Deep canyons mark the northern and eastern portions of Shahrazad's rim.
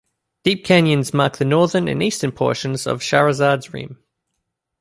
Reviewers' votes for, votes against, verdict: 2, 0, accepted